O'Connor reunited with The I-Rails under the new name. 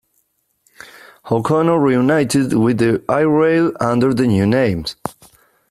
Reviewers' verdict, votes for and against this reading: accepted, 4, 2